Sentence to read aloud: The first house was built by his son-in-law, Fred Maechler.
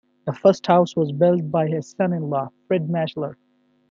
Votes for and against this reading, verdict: 2, 0, accepted